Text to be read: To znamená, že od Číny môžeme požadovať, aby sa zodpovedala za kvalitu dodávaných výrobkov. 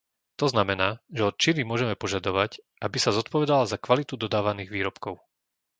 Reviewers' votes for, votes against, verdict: 2, 0, accepted